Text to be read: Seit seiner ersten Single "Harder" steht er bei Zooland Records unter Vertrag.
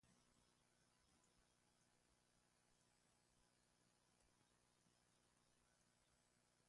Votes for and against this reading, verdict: 0, 2, rejected